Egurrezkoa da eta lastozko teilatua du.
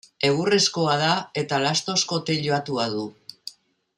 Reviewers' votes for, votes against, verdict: 2, 0, accepted